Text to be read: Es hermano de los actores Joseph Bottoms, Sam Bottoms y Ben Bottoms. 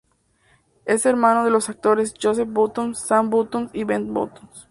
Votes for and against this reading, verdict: 2, 0, accepted